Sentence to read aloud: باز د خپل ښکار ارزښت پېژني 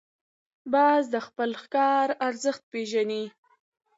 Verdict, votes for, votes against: accepted, 2, 0